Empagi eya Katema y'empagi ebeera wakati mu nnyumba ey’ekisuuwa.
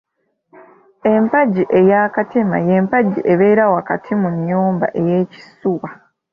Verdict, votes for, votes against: accepted, 2, 0